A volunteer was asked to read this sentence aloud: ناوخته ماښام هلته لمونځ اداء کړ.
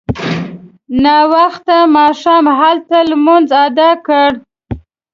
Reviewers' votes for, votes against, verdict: 2, 0, accepted